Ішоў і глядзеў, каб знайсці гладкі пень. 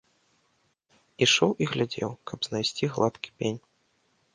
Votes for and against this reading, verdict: 2, 0, accepted